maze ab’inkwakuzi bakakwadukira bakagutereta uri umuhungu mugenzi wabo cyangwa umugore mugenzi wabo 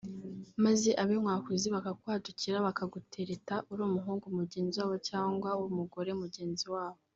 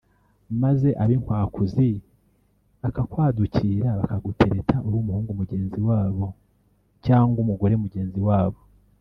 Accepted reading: first